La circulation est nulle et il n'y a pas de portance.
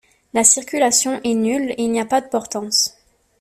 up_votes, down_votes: 2, 0